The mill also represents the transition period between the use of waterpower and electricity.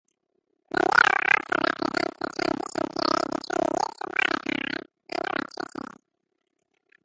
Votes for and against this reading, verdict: 0, 2, rejected